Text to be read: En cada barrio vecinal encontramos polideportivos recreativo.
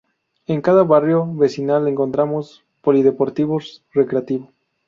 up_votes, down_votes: 0, 2